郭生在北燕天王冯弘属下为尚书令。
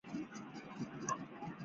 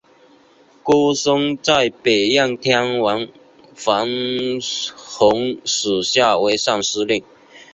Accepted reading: second